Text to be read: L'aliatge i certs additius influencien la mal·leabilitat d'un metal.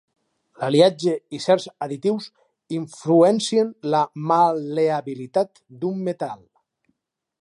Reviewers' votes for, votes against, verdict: 2, 4, rejected